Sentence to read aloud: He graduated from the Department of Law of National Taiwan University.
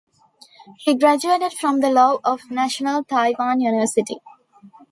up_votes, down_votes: 1, 2